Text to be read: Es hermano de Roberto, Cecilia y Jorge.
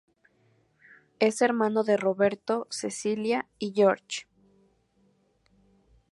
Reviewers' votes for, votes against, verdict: 0, 2, rejected